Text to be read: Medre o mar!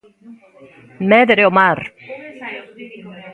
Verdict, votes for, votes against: accepted, 2, 0